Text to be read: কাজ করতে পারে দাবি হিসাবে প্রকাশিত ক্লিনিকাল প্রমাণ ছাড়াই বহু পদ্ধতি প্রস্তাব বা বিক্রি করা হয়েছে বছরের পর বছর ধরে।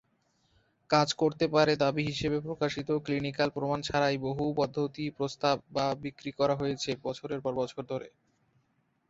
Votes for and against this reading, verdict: 2, 0, accepted